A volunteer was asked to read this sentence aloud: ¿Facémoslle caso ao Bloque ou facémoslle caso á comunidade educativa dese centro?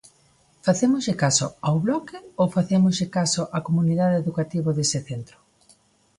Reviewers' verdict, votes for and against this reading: accepted, 2, 0